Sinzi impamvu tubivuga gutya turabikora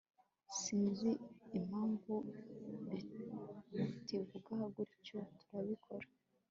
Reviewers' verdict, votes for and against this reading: accepted, 2, 0